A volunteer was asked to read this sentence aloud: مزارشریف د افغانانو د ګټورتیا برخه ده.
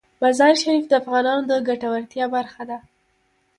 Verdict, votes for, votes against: rejected, 1, 2